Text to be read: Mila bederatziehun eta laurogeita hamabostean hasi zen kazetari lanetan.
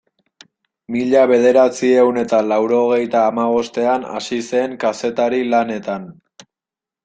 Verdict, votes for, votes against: accepted, 2, 0